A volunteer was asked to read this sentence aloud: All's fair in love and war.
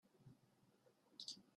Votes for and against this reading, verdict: 0, 2, rejected